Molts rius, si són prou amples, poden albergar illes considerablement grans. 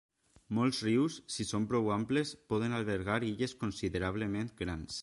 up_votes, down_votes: 3, 0